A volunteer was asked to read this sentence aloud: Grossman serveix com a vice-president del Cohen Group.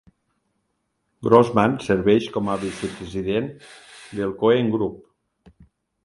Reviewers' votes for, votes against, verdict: 2, 0, accepted